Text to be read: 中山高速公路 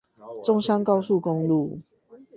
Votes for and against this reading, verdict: 8, 0, accepted